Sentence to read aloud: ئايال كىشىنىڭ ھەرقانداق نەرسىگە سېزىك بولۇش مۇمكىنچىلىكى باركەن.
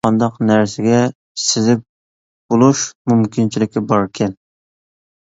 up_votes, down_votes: 0, 2